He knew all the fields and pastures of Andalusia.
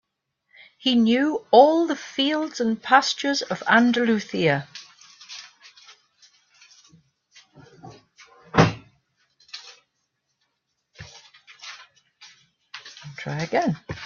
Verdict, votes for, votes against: rejected, 1, 2